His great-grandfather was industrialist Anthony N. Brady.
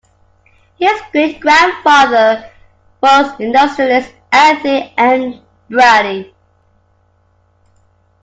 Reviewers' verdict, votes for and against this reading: accepted, 2, 0